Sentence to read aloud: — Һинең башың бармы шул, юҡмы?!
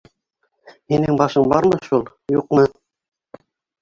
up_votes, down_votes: 0, 2